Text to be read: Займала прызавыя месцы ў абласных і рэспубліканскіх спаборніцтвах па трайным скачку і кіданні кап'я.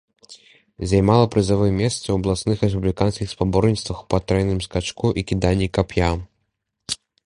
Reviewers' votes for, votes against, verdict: 2, 0, accepted